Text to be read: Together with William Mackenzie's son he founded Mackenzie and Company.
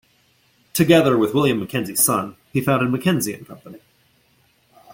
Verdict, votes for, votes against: rejected, 1, 2